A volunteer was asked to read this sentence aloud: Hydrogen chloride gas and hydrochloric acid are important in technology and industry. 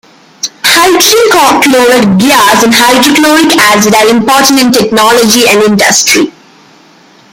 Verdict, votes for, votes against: rejected, 0, 2